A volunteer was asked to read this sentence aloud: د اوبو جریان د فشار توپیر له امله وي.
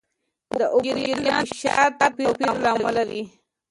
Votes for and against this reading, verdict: 1, 2, rejected